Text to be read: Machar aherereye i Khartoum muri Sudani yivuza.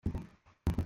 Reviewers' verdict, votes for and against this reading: rejected, 0, 2